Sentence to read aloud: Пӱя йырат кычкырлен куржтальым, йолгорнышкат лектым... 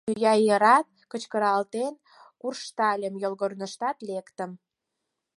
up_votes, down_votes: 0, 4